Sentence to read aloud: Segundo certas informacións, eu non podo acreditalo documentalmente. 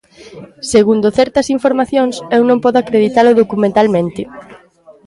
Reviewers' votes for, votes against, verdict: 2, 0, accepted